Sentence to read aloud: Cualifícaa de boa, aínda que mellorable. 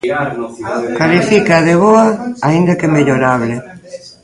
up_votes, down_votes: 0, 2